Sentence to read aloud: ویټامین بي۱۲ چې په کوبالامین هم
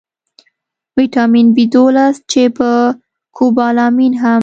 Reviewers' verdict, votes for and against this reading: rejected, 0, 2